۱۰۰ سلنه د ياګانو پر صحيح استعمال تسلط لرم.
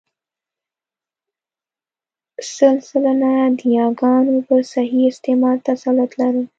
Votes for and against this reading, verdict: 0, 2, rejected